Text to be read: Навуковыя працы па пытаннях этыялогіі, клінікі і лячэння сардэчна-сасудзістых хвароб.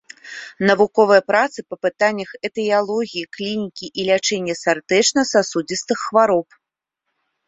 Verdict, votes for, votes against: accepted, 2, 0